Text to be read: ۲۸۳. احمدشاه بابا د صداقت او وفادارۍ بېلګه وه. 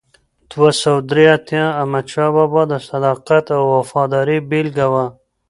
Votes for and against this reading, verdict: 0, 2, rejected